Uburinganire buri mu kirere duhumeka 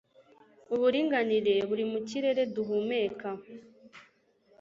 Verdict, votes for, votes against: accepted, 2, 0